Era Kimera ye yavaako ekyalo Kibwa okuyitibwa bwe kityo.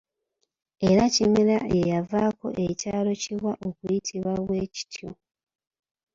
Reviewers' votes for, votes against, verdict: 0, 2, rejected